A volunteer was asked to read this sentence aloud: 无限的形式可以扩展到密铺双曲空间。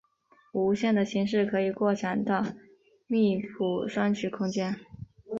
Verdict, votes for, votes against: accepted, 5, 1